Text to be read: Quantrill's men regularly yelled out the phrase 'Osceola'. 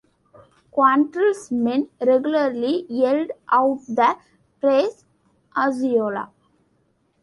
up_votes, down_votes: 1, 2